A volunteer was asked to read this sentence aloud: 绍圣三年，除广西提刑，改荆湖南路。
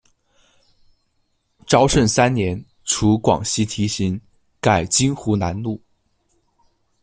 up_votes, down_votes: 1, 2